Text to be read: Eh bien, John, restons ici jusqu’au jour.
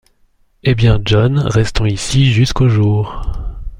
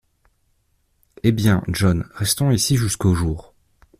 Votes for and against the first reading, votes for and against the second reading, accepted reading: 2, 0, 1, 2, first